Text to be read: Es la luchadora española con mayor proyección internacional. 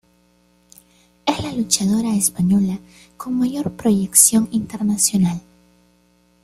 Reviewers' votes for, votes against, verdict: 1, 2, rejected